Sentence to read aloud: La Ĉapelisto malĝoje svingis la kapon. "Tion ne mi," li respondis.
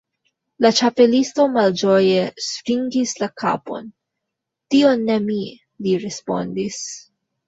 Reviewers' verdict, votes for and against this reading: accepted, 2, 1